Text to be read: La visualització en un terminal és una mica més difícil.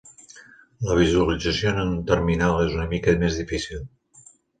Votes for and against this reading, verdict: 2, 1, accepted